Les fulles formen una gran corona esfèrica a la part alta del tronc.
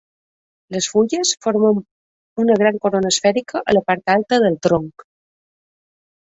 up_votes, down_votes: 1, 2